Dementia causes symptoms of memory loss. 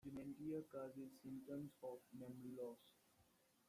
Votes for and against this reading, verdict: 0, 2, rejected